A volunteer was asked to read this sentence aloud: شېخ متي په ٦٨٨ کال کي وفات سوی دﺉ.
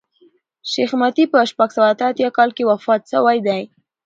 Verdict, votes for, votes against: rejected, 0, 2